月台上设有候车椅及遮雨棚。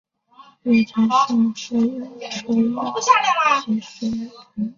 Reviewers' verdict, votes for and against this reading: rejected, 1, 3